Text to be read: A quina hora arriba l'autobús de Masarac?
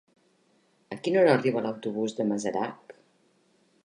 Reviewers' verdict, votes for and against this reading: accepted, 3, 0